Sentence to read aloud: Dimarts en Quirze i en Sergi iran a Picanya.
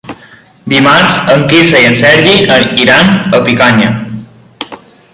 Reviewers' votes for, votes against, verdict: 0, 2, rejected